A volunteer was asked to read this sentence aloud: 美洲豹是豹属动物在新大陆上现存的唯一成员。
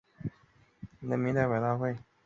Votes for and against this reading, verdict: 0, 2, rejected